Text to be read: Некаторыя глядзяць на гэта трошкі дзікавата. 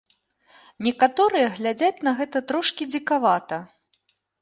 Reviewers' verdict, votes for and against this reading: accepted, 2, 0